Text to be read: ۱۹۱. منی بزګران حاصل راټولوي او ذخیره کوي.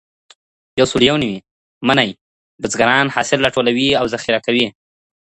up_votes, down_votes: 0, 2